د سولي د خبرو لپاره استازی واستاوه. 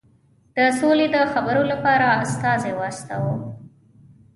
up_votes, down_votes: 2, 0